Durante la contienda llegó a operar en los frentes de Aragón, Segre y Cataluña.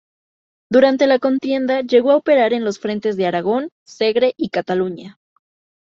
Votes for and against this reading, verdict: 2, 0, accepted